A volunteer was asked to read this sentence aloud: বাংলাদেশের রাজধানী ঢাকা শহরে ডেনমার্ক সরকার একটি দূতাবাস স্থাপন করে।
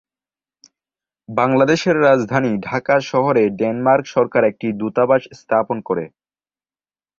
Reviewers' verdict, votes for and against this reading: accepted, 3, 0